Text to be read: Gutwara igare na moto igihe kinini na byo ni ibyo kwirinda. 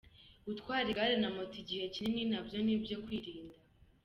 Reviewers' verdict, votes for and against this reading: accepted, 2, 0